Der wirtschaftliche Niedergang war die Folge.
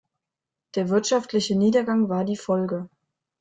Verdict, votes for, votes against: accepted, 2, 0